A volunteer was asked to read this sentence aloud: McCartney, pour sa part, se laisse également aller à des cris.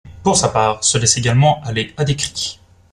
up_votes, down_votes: 0, 2